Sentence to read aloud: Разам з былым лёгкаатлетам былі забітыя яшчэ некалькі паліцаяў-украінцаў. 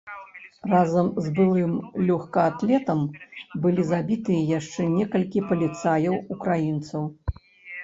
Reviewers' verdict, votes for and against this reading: rejected, 1, 2